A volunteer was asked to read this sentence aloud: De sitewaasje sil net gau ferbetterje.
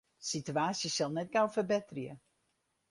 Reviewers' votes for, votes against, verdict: 2, 2, rejected